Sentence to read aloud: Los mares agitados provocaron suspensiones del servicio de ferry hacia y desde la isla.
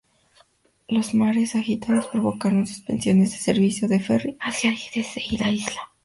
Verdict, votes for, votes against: rejected, 0, 2